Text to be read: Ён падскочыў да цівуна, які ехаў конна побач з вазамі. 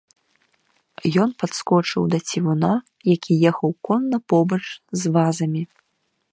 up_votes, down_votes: 0, 2